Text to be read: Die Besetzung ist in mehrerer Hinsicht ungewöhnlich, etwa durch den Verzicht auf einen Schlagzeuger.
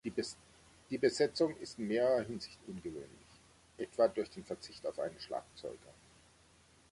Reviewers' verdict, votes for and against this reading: rejected, 0, 3